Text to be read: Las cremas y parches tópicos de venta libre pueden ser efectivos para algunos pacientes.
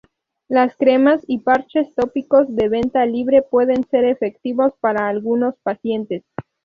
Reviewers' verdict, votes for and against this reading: rejected, 2, 2